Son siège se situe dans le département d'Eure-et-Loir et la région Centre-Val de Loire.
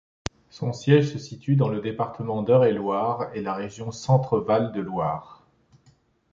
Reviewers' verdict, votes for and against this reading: accepted, 2, 0